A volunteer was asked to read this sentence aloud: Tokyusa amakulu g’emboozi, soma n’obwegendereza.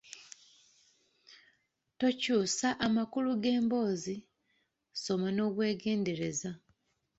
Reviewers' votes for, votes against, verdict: 2, 0, accepted